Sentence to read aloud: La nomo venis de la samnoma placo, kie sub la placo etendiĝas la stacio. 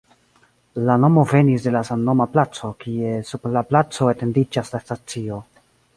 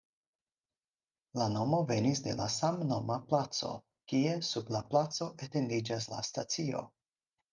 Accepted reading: second